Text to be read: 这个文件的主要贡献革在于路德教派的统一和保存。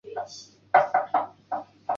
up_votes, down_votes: 0, 2